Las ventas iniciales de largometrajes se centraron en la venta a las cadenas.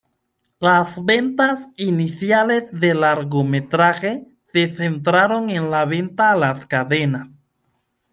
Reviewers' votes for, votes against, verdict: 1, 2, rejected